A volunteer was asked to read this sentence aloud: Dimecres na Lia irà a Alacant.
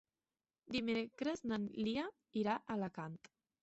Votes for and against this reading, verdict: 3, 1, accepted